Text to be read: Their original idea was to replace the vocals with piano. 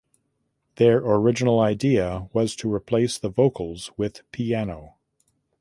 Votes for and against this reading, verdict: 2, 0, accepted